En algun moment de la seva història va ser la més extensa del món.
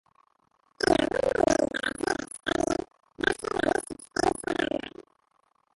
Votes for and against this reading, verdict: 0, 2, rejected